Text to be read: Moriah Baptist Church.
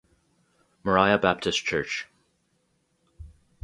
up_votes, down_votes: 4, 0